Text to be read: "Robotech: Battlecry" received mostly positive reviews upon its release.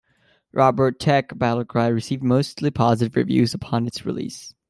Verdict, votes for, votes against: accepted, 2, 0